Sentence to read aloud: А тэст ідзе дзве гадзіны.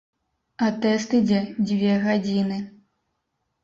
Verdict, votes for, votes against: accepted, 2, 0